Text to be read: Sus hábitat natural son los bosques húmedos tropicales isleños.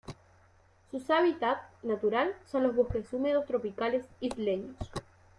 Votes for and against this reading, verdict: 1, 2, rejected